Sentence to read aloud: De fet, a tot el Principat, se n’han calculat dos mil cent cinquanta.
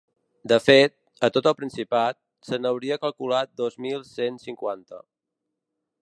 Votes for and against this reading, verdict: 0, 4, rejected